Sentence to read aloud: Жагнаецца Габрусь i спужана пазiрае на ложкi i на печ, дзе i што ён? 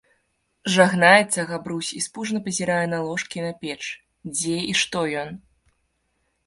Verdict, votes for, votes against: accepted, 2, 0